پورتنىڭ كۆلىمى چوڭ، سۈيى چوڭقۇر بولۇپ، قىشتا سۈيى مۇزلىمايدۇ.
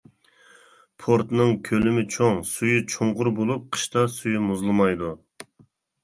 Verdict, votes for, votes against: accepted, 2, 0